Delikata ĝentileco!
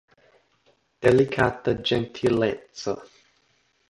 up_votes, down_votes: 2, 0